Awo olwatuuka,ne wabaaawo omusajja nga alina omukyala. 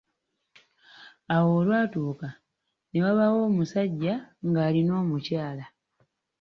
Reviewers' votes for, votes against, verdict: 2, 0, accepted